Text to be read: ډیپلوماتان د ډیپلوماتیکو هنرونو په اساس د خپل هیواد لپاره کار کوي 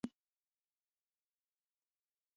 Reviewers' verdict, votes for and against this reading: rejected, 1, 2